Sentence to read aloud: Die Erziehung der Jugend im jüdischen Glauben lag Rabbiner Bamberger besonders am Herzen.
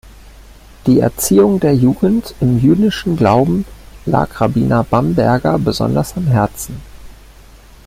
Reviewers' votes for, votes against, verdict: 2, 0, accepted